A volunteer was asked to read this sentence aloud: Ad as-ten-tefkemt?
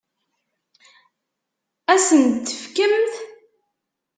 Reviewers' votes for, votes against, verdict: 2, 1, accepted